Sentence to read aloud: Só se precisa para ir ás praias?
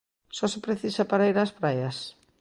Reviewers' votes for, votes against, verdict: 2, 0, accepted